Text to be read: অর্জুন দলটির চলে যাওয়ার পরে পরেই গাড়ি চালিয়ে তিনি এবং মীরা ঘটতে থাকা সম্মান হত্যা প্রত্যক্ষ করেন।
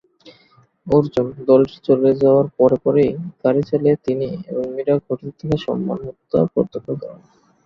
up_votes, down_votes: 0, 5